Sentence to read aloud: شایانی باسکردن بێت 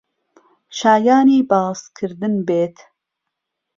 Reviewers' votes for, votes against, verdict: 2, 0, accepted